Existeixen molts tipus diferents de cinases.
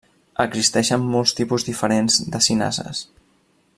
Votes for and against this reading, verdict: 3, 0, accepted